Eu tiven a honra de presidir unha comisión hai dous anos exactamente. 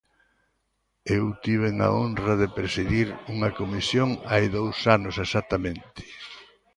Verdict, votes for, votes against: rejected, 1, 2